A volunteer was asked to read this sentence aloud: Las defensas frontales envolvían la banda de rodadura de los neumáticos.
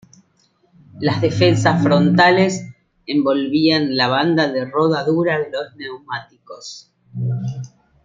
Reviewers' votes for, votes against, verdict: 2, 0, accepted